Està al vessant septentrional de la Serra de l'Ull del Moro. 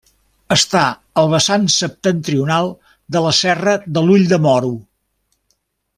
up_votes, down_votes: 0, 2